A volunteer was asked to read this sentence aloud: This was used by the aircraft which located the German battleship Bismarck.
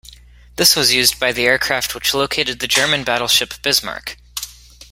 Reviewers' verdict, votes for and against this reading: accepted, 2, 0